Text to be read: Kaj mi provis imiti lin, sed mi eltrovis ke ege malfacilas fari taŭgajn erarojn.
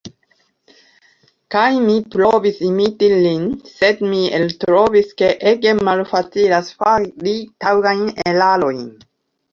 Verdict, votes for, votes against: rejected, 1, 3